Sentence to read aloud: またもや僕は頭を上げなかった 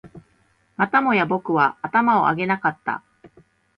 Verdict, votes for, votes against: accepted, 3, 0